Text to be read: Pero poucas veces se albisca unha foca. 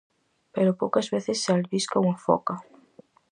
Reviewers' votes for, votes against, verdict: 4, 0, accepted